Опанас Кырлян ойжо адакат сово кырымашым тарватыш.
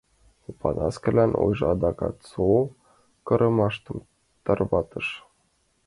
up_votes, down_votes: 1, 2